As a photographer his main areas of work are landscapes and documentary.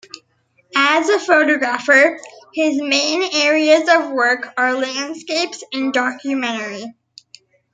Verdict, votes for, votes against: rejected, 0, 2